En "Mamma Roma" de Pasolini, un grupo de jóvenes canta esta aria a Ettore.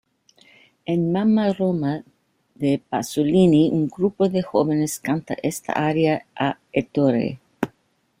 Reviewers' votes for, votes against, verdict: 2, 0, accepted